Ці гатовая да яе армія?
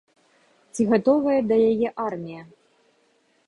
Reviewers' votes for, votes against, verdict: 2, 0, accepted